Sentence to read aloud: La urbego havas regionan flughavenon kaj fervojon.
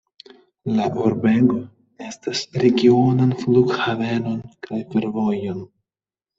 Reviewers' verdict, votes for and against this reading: rejected, 0, 2